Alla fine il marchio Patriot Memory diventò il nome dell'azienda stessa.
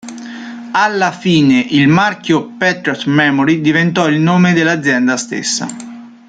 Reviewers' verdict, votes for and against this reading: accepted, 2, 0